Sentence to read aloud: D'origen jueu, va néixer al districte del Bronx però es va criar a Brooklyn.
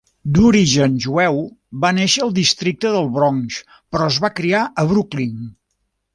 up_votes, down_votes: 2, 0